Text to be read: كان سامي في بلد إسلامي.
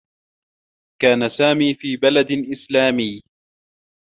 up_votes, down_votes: 2, 1